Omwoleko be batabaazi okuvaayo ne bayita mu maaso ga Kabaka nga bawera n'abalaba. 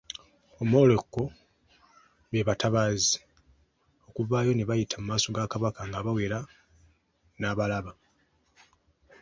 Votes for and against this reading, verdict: 0, 2, rejected